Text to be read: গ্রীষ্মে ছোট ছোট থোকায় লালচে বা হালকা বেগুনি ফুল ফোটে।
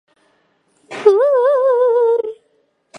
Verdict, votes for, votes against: rejected, 0, 2